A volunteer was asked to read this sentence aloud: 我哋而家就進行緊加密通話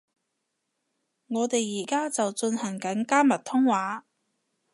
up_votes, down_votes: 2, 0